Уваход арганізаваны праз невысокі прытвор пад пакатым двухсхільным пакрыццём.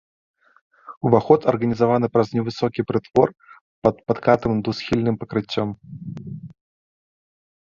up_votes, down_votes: 0, 2